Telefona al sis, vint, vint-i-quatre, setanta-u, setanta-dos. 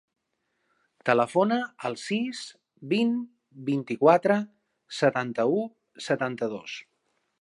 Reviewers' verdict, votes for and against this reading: accepted, 4, 0